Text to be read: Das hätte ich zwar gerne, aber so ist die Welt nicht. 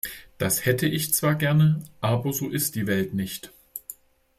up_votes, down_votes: 2, 0